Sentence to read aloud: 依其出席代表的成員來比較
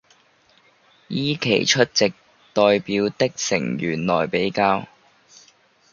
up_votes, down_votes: 0, 2